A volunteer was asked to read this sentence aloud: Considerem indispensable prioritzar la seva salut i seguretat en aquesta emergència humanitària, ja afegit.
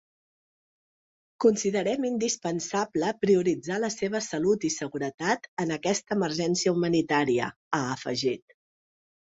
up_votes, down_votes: 2, 3